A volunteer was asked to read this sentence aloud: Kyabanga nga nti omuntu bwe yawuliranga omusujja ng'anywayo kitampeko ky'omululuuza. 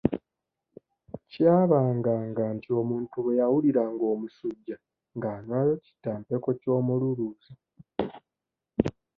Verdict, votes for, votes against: accepted, 2, 0